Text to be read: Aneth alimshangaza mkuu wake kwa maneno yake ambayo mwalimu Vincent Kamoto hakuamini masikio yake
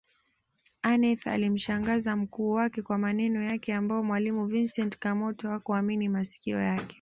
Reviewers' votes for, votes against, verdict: 1, 2, rejected